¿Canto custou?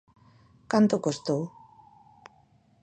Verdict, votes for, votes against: rejected, 0, 2